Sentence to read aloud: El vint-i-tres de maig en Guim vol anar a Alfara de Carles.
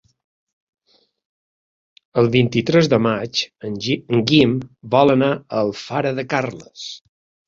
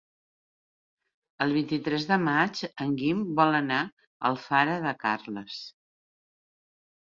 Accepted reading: second